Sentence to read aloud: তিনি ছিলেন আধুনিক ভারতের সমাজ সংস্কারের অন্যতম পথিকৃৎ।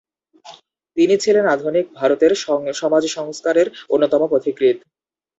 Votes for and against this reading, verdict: 4, 0, accepted